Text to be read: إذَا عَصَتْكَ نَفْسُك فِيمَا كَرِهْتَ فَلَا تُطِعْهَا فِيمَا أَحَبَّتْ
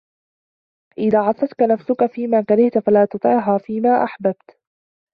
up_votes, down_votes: 1, 2